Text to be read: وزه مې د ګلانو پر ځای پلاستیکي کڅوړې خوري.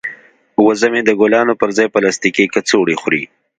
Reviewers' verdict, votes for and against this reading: accepted, 2, 0